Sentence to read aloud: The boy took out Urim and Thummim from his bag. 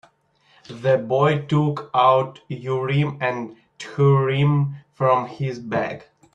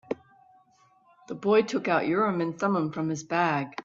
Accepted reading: second